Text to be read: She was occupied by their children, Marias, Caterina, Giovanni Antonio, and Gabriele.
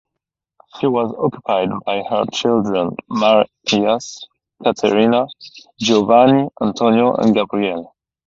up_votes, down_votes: 2, 4